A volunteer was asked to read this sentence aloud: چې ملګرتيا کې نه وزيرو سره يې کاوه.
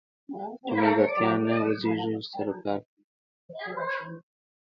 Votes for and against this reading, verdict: 1, 2, rejected